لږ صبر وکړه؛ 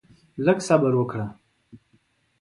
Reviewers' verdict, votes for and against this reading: accepted, 2, 0